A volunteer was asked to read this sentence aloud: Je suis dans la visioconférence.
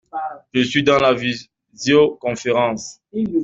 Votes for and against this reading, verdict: 2, 1, accepted